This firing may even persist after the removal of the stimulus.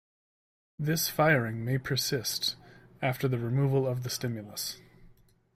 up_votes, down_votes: 0, 2